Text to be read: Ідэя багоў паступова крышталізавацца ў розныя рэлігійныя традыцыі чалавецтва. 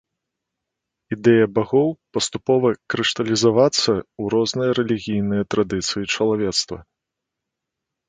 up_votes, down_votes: 2, 0